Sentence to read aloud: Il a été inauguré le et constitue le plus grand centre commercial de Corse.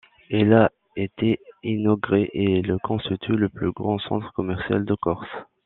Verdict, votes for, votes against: rejected, 0, 2